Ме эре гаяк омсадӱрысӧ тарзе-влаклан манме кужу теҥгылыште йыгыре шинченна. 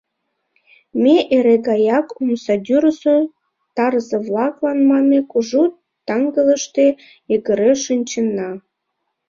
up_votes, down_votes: 1, 2